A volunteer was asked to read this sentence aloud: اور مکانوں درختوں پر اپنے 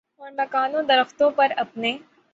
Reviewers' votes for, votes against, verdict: 6, 3, accepted